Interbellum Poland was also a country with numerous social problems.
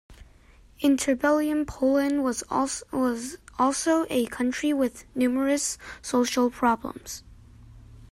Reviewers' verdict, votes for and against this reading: rejected, 0, 2